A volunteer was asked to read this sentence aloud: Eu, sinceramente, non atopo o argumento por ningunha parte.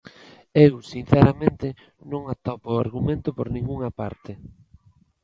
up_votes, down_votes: 2, 0